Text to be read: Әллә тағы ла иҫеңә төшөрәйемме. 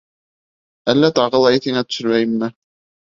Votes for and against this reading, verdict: 3, 0, accepted